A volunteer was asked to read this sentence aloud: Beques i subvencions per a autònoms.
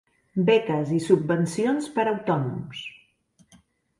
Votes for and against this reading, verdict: 2, 0, accepted